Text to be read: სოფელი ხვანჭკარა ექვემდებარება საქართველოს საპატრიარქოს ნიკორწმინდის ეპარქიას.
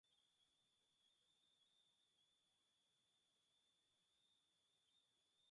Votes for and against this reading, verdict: 0, 2, rejected